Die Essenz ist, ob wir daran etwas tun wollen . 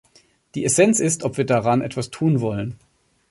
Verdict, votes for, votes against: accepted, 2, 0